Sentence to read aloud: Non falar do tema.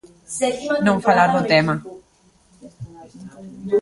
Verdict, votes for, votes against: rejected, 0, 2